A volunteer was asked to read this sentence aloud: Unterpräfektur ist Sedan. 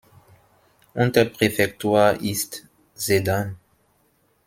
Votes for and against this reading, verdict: 2, 0, accepted